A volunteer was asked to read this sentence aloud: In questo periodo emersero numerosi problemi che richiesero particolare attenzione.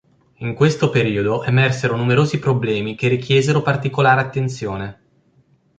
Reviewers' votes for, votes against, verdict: 2, 0, accepted